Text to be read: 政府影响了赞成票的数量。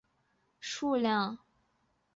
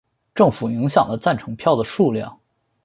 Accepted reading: second